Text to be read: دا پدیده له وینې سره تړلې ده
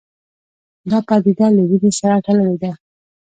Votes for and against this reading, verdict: 1, 2, rejected